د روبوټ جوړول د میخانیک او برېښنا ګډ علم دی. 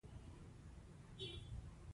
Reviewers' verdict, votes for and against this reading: rejected, 1, 2